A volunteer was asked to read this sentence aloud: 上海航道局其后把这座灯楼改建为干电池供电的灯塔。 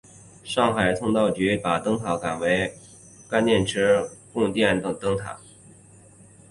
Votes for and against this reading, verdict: 1, 2, rejected